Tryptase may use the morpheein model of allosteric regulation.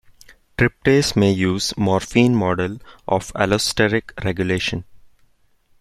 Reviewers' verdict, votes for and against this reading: rejected, 1, 2